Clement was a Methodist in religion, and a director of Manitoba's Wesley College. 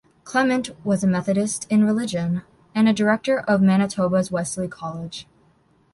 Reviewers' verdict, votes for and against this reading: accepted, 2, 0